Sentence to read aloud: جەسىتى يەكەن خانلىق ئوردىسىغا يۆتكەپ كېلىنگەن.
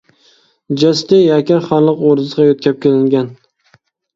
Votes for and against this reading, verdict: 2, 0, accepted